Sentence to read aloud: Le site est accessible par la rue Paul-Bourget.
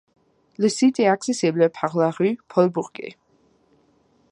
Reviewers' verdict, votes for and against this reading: rejected, 1, 2